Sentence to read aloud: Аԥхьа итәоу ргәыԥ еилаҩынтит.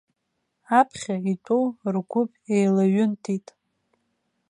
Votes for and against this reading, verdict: 2, 0, accepted